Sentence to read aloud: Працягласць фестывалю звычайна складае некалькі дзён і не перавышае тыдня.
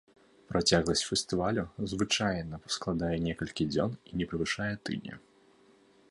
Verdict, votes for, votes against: accepted, 2, 0